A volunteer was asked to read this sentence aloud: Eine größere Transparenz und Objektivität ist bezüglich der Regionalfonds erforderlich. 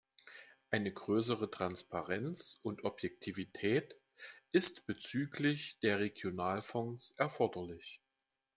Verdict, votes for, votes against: accepted, 2, 0